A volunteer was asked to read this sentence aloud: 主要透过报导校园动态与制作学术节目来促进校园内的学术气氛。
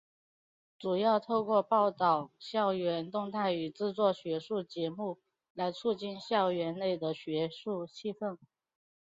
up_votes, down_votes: 2, 0